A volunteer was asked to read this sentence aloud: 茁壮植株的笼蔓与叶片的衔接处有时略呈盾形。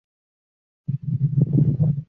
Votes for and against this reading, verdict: 0, 3, rejected